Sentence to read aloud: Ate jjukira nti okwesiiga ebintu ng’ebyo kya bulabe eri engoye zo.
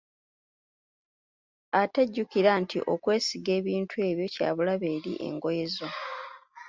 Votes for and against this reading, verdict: 1, 2, rejected